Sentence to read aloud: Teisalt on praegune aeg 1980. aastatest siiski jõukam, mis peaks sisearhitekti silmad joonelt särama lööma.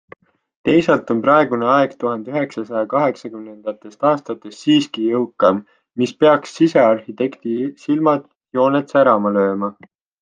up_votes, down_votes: 0, 2